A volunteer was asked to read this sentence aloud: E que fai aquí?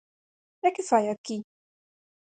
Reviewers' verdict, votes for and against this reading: accepted, 4, 0